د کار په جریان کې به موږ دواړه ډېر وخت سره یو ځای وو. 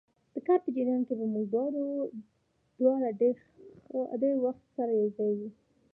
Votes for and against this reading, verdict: 2, 0, accepted